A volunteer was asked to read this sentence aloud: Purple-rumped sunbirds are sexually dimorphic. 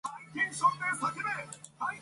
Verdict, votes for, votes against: rejected, 0, 2